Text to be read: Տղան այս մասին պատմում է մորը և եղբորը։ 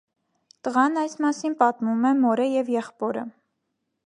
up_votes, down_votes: 2, 1